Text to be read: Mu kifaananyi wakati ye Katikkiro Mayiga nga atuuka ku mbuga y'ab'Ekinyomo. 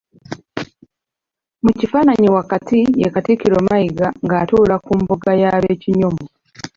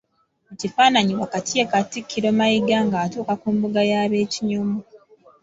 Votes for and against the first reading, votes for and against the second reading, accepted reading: 0, 2, 2, 1, second